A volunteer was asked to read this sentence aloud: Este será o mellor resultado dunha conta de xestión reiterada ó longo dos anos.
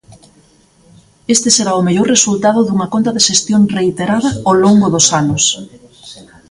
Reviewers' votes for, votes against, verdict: 0, 2, rejected